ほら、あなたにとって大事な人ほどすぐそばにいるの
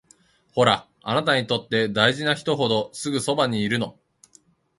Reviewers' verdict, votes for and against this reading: accepted, 2, 1